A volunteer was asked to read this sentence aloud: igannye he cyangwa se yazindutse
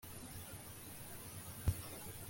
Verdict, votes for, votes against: rejected, 1, 2